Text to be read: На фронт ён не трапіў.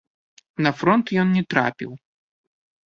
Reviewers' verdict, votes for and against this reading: rejected, 0, 2